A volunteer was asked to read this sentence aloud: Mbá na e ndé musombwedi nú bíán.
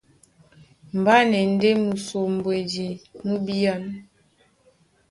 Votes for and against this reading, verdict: 2, 0, accepted